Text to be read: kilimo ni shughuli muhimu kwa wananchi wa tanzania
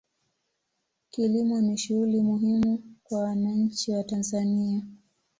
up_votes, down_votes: 2, 0